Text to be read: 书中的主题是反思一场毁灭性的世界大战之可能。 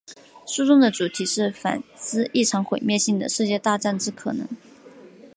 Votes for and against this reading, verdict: 2, 1, accepted